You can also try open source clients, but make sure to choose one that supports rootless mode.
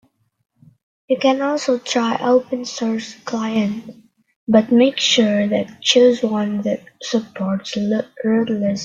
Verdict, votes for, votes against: rejected, 0, 3